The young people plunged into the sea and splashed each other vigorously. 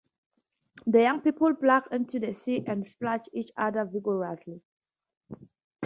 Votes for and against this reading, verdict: 2, 0, accepted